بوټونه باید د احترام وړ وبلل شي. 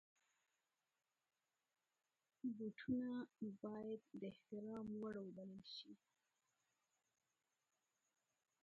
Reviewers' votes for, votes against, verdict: 1, 2, rejected